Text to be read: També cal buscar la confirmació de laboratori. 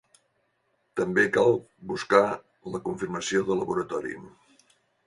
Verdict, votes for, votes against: accepted, 5, 1